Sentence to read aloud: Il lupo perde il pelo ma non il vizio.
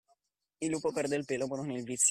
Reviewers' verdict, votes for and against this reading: accepted, 2, 0